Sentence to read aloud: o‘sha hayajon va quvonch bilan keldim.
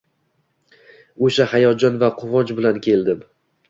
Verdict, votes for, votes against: rejected, 1, 2